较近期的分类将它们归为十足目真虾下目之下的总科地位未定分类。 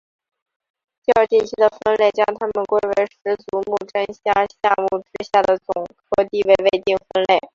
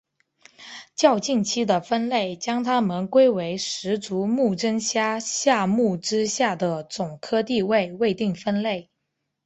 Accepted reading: second